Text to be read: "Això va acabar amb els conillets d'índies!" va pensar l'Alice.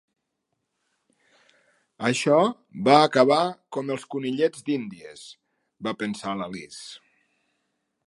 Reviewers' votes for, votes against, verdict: 0, 2, rejected